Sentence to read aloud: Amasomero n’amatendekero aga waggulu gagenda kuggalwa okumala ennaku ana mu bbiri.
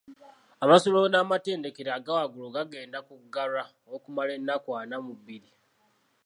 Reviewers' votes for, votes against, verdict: 2, 0, accepted